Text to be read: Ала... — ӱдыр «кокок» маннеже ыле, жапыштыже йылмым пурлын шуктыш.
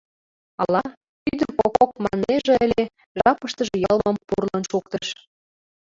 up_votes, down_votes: 1, 2